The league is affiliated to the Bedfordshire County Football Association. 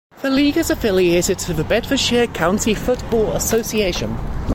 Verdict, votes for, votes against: accepted, 2, 0